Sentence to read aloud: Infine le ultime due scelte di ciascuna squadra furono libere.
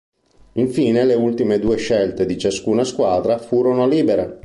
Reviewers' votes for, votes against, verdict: 2, 0, accepted